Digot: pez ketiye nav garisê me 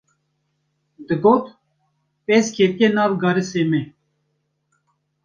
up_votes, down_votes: 1, 2